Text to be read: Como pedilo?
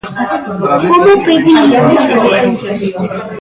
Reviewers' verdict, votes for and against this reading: rejected, 0, 2